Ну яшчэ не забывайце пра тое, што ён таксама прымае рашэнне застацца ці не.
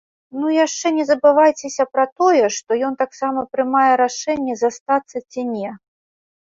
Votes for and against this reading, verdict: 1, 3, rejected